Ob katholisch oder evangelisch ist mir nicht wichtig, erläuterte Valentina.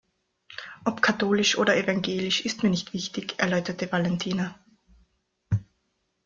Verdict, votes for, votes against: accepted, 2, 0